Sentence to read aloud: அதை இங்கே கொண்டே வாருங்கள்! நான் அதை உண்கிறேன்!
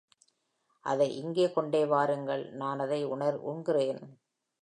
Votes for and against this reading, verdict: 0, 2, rejected